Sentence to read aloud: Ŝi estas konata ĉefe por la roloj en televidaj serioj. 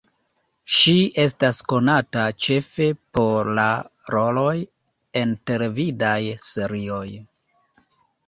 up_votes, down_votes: 2, 0